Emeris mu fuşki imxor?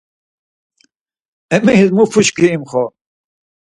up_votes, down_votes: 4, 0